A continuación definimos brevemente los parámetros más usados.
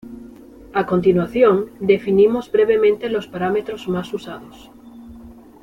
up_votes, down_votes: 2, 0